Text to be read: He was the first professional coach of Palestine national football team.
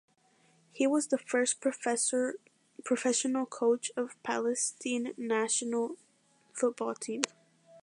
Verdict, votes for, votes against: rejected, 1, 2